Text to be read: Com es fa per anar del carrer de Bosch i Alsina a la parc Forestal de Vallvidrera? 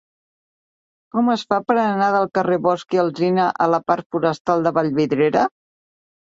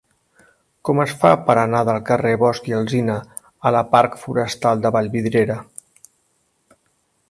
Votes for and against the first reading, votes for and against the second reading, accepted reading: 3, 0, 0, 2, first